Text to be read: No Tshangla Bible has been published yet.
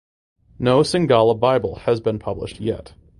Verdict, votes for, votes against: accepted, 2, 0